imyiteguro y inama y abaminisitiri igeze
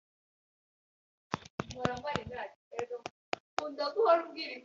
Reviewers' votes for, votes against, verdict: 0, 2, rejected